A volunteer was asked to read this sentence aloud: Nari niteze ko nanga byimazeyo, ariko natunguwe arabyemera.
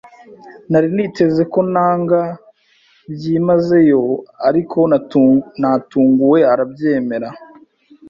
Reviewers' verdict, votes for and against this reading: rejected, 1, 2